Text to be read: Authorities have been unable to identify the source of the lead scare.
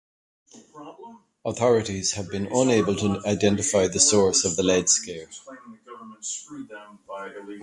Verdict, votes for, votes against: rejected, 1, 2